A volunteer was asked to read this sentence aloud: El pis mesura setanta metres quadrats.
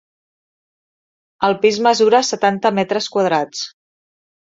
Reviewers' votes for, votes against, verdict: 4, 0, accepted